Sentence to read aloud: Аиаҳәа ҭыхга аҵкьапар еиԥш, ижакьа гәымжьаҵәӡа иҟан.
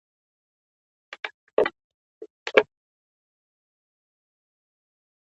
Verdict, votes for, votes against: rejected, 0, 2